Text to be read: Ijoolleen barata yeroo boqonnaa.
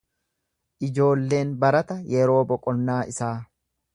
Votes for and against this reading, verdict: 1, 2, rejected